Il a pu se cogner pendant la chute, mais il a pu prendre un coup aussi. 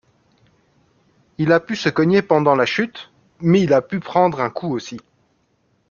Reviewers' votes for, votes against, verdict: 2, 0, accepted